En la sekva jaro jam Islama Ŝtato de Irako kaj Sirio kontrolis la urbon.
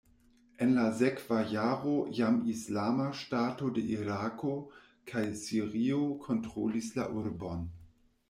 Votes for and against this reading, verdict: 0, 2, rejected